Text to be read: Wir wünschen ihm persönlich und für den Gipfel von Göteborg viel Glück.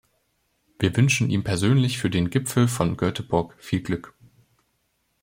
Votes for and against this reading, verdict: 1, 2, rejected